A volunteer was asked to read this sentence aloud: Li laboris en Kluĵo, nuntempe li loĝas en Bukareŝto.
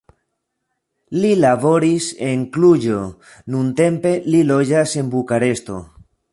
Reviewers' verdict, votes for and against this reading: rejected, 0, 2